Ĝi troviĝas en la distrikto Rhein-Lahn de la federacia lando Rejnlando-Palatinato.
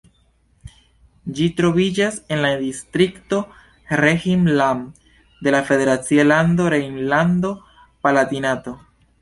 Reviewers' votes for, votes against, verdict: 2, 0, accepted